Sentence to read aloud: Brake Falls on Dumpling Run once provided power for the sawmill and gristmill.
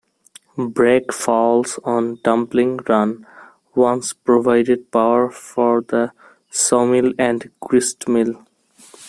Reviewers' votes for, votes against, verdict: 1, 2, rejected